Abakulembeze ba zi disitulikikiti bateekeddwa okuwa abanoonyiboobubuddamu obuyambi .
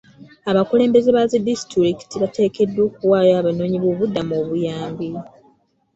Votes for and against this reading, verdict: 1, 2, rejected